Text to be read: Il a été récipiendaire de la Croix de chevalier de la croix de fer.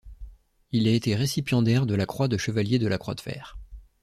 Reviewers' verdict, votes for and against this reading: accepted, 2, 0